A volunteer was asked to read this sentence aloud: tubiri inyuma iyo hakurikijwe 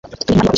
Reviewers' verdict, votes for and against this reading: rejected, 1, 2